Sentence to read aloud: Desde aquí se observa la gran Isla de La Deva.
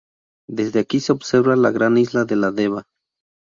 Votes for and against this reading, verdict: 2, 0, accepted